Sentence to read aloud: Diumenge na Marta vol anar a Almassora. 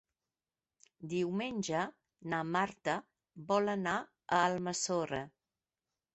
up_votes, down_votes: 3, 0